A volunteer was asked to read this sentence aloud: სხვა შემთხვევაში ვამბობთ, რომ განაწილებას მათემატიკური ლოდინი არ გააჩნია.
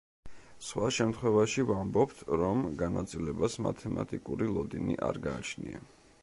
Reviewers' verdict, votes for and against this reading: accepted, 2, 0